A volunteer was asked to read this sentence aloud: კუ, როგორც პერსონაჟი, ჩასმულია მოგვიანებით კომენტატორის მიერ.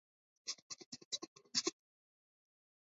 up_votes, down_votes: 0, 2